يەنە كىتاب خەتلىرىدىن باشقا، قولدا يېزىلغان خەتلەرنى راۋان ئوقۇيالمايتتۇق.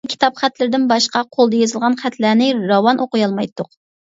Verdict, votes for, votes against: rejected, 0, 2